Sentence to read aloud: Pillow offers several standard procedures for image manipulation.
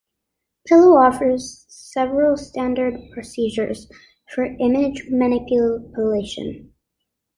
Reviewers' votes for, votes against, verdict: 2, 1, accepted